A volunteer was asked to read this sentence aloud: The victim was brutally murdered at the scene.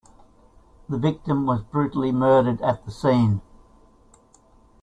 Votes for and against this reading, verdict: 2, 0, accepted